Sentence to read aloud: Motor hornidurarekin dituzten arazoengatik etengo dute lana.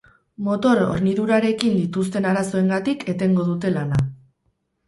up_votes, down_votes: 2, 0